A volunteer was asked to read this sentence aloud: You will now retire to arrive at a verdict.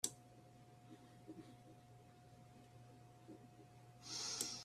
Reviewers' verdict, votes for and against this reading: rejected, 1, 2